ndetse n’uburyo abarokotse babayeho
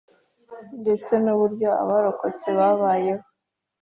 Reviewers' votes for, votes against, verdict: 3, 0, accepted